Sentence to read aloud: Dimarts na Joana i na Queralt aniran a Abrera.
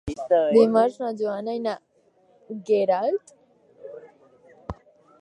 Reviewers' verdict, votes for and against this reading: rejected, 0, 4